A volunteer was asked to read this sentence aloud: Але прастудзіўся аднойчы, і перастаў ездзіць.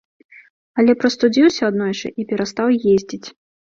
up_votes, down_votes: 2, 0